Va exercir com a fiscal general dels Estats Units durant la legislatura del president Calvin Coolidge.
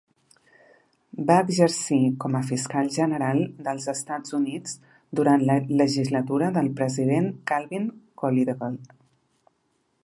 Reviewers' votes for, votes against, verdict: 1, 2, rejected